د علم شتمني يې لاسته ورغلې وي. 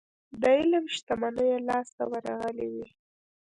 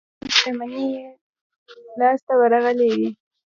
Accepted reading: second